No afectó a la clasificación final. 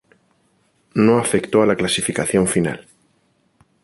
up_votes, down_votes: 4, 0